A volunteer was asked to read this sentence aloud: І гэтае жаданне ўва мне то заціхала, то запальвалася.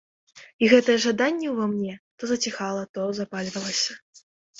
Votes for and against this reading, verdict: 3, 0, accepted